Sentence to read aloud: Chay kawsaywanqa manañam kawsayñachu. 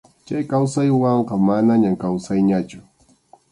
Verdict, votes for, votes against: accepted, 2, 0